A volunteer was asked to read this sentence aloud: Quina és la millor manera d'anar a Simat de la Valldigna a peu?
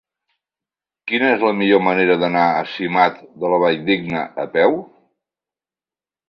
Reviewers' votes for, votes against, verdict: 3, 0, accepted